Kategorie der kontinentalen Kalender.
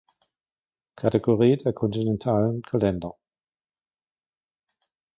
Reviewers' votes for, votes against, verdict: 2, 0, accepted